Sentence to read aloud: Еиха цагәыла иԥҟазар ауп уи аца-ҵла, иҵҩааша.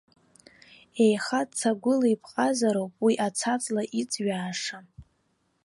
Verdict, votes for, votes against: accepted, 2, 0